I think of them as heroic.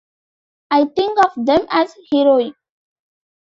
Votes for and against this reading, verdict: 2, 1, accepted